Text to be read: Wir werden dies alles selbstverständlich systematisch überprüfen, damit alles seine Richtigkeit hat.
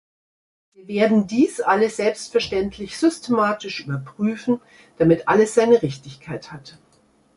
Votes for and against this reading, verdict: 1, 2, rejected